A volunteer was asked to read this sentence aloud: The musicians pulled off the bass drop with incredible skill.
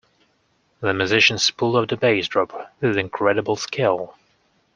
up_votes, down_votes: 1, 2